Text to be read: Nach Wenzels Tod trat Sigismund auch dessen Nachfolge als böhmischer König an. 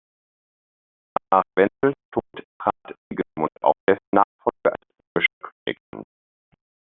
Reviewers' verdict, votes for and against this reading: rejected, 0, 2